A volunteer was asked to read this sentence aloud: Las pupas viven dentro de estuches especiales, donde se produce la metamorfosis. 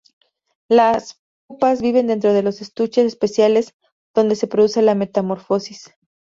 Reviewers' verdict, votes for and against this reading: rejected, 0, 2